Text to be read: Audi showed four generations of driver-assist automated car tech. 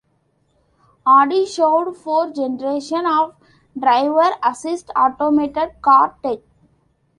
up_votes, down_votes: 0, 2